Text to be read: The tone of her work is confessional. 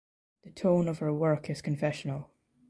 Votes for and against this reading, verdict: 2, 0, accepted